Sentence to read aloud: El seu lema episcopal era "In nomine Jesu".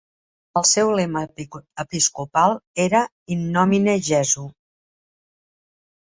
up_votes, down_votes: 0, 2